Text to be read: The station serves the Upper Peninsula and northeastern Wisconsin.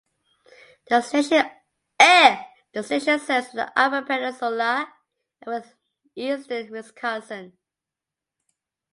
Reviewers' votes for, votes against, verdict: 0, 2, rejected